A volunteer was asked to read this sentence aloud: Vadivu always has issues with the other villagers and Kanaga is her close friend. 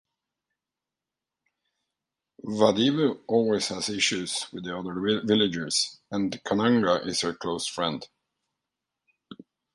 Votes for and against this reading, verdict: 0, 2, rejected